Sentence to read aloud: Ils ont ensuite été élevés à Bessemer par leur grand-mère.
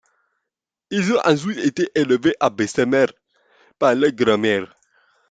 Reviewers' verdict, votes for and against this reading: rejected, 1, 2